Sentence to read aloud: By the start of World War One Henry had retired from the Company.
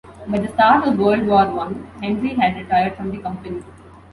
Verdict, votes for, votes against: accepted, 2, 0